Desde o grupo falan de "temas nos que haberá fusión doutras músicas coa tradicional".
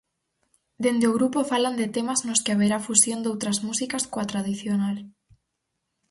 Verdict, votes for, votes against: rejected, 0, 4